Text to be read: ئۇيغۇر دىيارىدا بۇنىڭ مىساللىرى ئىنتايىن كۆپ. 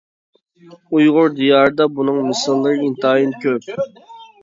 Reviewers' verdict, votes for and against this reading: rejected, 1, 2